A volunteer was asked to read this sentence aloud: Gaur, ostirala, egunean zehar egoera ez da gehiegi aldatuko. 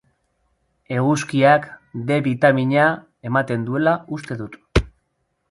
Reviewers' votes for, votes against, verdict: 0, 2, rejected